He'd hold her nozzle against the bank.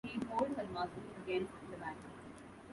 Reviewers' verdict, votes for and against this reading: rejected, 1, 2